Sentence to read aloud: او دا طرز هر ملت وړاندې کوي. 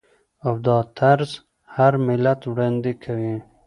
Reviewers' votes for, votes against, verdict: 2, 0, accepted